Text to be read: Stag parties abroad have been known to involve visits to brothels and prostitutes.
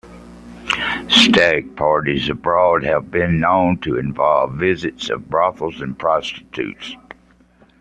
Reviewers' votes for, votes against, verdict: 2, 1, accepted